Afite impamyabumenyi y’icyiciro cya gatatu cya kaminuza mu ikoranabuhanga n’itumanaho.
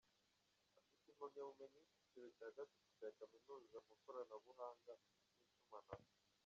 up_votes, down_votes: 0, 2